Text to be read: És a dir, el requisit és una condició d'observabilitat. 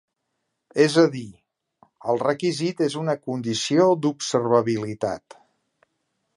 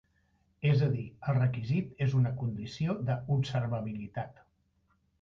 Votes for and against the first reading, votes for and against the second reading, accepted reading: 3, 0, 1, 2, first